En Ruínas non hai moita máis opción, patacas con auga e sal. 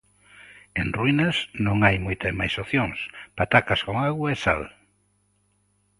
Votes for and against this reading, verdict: 2, 0, accepted